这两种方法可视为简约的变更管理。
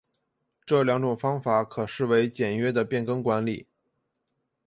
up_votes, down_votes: 3, 0